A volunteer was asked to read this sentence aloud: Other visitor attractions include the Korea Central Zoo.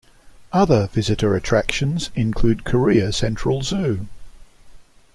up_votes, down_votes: 1, 2